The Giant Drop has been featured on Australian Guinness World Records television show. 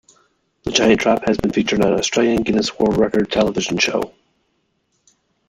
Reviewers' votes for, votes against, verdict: 0, 2, rejected